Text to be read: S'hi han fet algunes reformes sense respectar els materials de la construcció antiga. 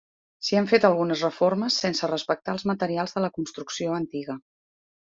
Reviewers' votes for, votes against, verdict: 3, 0, accepted